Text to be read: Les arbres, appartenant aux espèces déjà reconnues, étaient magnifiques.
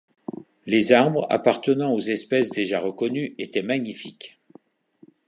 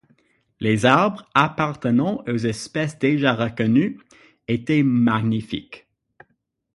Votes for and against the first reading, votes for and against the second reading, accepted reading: 2, 0, 3, 6, first